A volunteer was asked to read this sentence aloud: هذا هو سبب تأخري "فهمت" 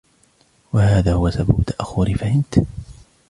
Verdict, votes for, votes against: accepted, 2, 1